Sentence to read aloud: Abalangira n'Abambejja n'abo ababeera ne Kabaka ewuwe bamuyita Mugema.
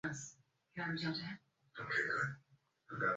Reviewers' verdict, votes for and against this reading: rejected, 0, 2